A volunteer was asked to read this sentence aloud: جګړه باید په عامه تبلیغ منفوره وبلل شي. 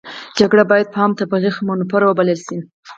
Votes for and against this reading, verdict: 0, 4, rejected